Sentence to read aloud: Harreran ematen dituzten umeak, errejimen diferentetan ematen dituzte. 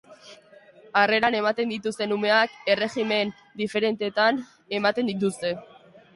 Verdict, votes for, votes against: accepted, 2, 0